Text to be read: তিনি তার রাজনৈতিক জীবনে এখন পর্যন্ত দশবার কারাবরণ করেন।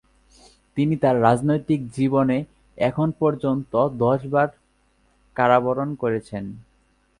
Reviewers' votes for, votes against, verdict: 8, 19, rejected